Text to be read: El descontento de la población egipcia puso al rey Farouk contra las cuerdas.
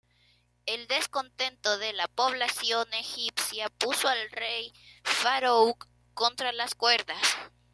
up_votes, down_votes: 2, 0